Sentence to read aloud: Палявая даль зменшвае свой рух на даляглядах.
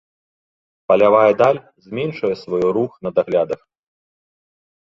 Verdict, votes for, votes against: rejected, 1, 2